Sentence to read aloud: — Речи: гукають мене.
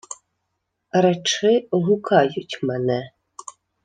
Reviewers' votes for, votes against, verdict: 2, 0, accepted